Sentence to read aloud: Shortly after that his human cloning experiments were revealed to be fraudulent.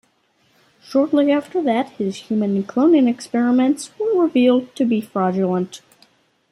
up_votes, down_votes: 2, 1